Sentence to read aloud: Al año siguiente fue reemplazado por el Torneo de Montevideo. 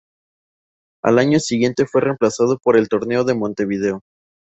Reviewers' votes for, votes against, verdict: 2, 0, accepted